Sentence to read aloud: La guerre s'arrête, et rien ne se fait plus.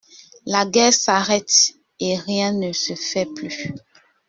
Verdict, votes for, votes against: accepted, 2, 0